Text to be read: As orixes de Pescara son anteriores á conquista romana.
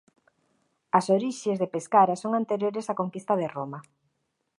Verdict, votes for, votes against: rejected, 0, 2